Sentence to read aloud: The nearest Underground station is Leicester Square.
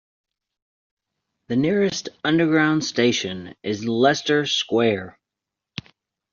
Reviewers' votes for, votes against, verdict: 2, 0, accepted